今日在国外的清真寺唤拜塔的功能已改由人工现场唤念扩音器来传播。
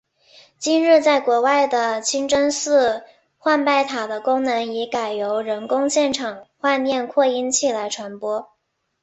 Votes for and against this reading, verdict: 2, 0, accepted